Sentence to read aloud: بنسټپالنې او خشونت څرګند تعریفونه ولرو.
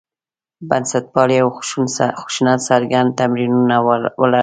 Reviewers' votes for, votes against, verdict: 1, 2, rejected